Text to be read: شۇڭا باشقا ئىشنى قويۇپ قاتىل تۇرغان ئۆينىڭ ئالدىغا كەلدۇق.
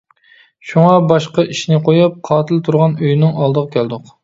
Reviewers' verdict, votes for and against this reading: accepted, 2, 0